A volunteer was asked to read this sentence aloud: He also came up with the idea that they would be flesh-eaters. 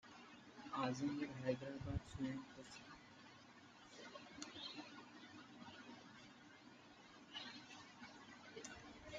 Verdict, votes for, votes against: rejected, 0, 2